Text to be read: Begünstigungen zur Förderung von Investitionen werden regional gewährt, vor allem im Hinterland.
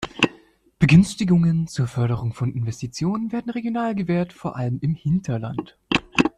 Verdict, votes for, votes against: rejected, 0, 2